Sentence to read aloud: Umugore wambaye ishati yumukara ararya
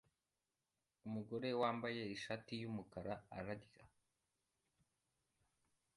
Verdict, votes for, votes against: accepted, 2, 0